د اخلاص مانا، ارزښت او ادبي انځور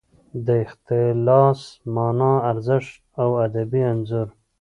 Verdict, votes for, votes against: rejected, 1, 2